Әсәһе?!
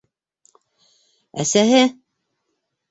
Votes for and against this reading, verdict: 2, 0, accepted